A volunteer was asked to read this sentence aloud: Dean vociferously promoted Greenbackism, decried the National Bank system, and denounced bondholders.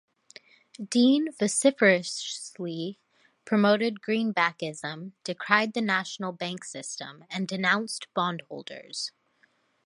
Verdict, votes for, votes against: rejected, 1, 2